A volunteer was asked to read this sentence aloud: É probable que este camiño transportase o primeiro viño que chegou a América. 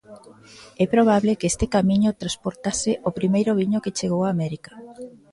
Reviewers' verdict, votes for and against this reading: accepted, 2, 0